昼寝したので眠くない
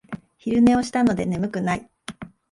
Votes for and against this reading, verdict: 0, 2, rejected